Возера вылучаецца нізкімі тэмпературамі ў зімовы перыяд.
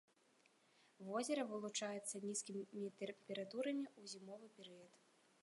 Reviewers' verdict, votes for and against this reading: rejected, 0, 2